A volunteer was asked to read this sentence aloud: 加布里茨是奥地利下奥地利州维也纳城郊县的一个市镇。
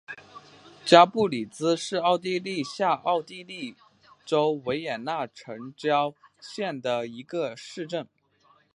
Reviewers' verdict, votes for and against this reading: accepted, 5, 1